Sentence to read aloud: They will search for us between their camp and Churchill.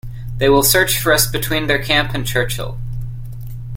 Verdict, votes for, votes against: accepted, 2, 0